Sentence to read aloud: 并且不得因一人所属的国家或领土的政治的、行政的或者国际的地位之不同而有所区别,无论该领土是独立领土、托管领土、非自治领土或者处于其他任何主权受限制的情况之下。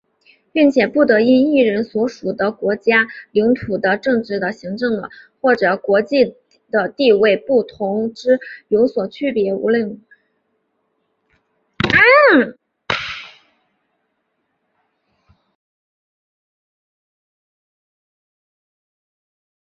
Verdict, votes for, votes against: rejected, 0, 2